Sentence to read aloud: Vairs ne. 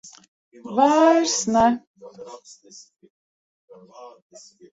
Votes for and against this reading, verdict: 1, 2, rejected